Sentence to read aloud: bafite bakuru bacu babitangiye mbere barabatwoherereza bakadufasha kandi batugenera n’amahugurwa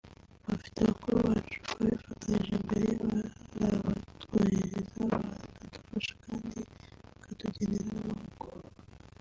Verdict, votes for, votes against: rejected, 0, 2